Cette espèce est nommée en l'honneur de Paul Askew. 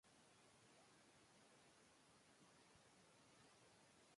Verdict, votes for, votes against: rejected, 0, 2